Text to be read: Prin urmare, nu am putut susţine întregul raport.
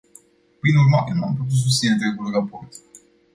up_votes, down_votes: 0, 2